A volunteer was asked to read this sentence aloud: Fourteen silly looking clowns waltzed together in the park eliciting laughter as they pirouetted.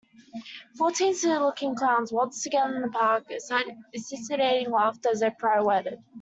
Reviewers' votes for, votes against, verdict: 0, 2, rejected